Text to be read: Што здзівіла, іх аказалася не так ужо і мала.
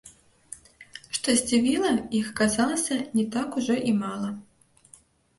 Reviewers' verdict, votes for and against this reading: rejected, 0, 3